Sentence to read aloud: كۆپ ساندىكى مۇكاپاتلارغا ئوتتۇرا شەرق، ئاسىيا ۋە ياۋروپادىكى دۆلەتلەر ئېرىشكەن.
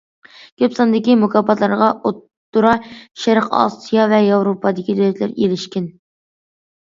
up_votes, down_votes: 2, 0